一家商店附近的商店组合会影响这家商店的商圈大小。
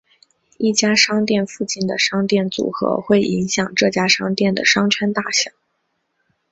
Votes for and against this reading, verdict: 3, 0, accepted